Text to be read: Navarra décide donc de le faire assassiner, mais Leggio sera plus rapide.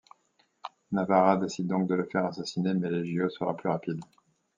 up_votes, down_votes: 2, 0